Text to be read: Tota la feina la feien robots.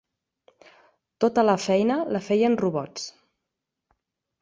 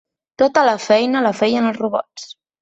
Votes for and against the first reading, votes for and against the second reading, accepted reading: 4, 0, 0, 2, first